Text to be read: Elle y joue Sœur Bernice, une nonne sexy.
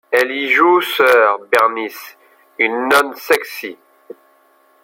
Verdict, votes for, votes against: rejected, 0, 2